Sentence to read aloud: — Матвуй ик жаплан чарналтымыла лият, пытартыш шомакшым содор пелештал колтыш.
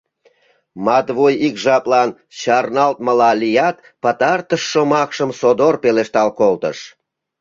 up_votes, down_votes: 0, 2